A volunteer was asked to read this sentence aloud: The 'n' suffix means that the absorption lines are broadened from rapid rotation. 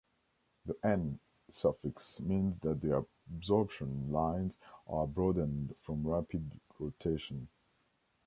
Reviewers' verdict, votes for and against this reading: rejected, 0, 2